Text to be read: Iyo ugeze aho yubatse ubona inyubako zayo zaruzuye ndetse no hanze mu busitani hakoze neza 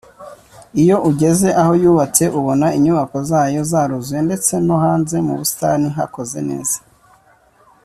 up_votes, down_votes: 3, 0